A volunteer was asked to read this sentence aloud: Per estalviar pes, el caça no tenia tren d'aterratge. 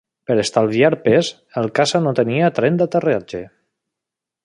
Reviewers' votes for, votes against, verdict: 2, 0, accepted